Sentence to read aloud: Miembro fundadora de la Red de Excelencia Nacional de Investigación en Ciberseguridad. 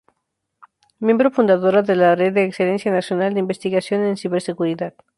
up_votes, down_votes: 2, 0